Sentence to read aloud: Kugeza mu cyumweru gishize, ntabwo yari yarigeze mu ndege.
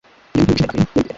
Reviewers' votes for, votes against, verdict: 1, 2, rejected